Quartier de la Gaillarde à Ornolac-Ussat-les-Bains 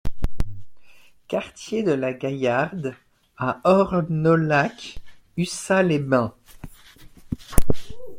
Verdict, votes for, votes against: accepted, 2, 0